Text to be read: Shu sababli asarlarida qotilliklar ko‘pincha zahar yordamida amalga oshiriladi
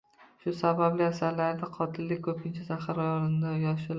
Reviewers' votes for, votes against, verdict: 0, 2, rejected